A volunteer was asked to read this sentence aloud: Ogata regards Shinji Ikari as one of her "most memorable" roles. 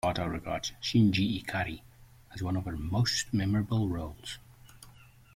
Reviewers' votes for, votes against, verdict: 1, 2, rejected